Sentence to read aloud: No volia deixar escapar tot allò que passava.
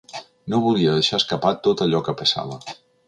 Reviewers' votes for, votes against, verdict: 4, 0, accepted